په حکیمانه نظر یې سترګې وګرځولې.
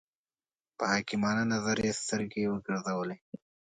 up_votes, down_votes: 2, 0